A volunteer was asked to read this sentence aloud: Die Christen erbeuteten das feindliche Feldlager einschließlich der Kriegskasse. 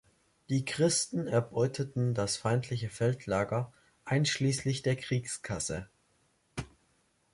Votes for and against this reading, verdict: 2, 0, accepted